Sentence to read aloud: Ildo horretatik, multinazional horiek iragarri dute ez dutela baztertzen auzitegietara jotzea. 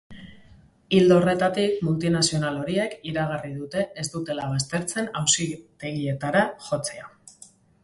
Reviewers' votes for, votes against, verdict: 2, 0, accepted